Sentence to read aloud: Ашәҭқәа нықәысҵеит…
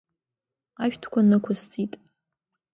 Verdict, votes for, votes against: accepted, 2, 0